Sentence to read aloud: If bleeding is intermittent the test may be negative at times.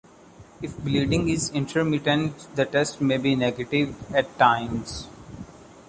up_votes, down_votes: 2, 0